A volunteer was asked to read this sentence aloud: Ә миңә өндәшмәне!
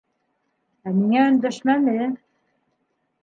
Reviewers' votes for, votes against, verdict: 2, 1, accepted